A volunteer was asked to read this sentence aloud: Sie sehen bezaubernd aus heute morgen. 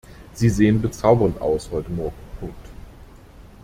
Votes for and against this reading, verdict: 1, 2, rejected